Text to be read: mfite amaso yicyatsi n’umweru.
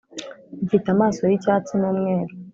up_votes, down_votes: 3, 0